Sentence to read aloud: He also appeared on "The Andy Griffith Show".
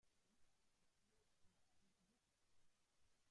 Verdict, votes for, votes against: rejected, 0, 2